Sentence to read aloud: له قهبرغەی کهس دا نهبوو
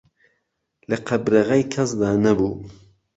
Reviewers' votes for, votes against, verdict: 1, 2, rejected